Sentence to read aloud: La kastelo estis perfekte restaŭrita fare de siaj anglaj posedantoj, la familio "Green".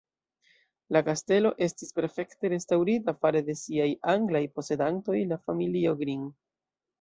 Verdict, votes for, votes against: rejected, 0, 2